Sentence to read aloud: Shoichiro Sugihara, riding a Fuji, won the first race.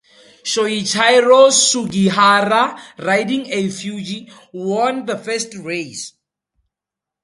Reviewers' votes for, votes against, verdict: 0, 2, rejected